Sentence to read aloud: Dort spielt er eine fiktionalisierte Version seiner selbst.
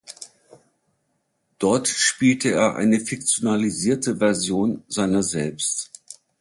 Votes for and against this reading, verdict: 2, 1, accepted